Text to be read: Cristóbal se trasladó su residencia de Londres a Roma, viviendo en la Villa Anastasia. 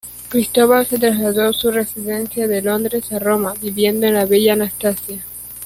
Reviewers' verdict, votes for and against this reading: rejected, 1, 2